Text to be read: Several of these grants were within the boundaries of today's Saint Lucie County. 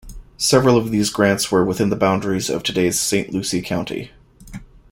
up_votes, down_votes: 2, 0